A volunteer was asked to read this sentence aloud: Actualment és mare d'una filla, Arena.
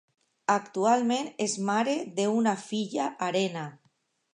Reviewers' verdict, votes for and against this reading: rejected, 1, 2